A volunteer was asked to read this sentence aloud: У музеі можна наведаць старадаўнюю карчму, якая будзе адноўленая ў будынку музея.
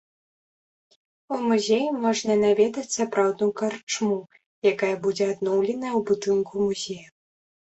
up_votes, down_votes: 1, 2